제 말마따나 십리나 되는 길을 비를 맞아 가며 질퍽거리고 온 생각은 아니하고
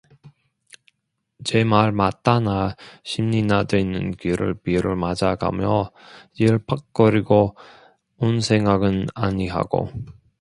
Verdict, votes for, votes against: rejected, 0, 2